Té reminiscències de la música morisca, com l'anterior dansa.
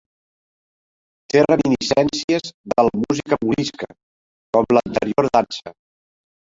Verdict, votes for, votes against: rejected, 0, 2